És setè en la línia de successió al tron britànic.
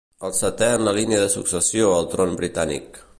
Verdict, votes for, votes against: rejected, 1, 2